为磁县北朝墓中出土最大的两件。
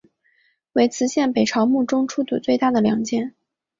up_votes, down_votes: 2, 0